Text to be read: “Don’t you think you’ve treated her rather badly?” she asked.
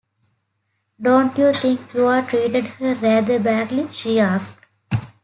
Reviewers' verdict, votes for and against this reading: rejected, 0, 2